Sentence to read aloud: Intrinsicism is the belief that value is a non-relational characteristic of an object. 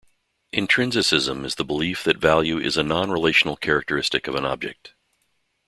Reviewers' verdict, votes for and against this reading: accepted, 2, 0